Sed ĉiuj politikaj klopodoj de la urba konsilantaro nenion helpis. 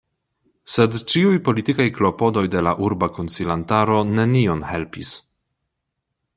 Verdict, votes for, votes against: accepted, 2, 0